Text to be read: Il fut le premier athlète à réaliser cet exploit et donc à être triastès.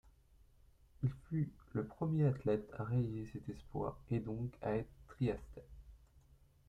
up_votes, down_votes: 0, 2